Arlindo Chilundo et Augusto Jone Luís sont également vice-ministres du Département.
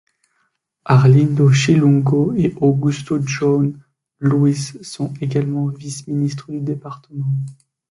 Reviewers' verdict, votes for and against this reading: rejected, 1, 2